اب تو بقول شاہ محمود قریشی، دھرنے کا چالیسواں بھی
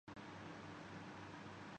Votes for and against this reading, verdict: 1, 6, rejected